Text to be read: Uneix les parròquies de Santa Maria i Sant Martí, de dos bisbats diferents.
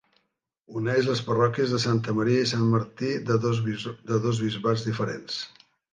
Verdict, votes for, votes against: rejected, 0, 2